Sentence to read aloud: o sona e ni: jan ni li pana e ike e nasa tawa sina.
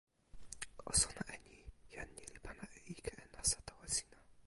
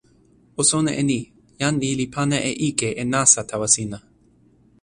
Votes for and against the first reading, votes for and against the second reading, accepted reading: 0, 2, 2, 0, second